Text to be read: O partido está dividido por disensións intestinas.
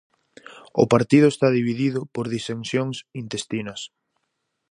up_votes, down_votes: 4, 0